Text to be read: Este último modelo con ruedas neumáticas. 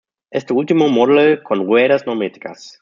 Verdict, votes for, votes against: rejected, 1, 2